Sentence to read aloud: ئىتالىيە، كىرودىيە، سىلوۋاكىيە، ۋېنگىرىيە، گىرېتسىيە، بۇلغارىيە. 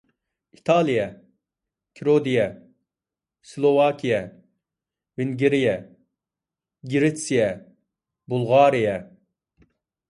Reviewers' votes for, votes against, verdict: 2, 0, accepted